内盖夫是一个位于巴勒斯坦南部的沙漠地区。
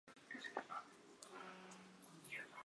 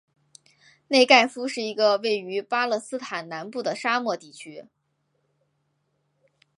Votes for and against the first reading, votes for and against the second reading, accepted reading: 0, 2, 2, 1, second